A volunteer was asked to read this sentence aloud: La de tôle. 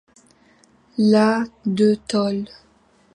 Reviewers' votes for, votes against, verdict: 2, 0, accepted